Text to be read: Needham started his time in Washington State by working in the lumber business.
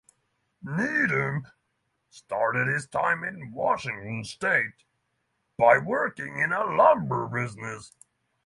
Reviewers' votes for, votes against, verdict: 0, 3, rejected